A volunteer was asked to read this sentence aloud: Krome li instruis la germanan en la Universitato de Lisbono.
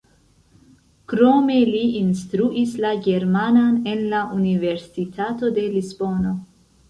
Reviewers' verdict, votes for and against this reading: accepted, 2, 0